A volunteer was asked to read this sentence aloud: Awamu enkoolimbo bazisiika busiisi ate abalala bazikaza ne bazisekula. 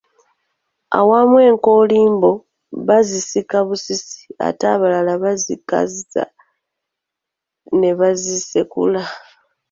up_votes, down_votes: 0, 2